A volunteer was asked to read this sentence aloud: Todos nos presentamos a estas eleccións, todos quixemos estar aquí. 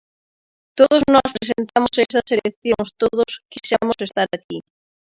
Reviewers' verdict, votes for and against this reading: rejected, 0, 2